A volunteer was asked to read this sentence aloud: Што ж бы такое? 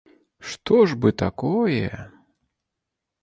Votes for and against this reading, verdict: 2, 0, accepted